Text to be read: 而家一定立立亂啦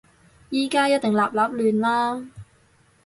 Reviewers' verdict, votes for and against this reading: accepted, 4, 2